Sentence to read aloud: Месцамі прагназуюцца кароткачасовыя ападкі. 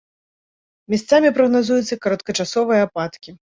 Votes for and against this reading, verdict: 0, 2, rejected